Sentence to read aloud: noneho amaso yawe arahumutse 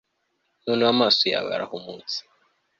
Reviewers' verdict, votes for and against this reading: accepted, 2, 0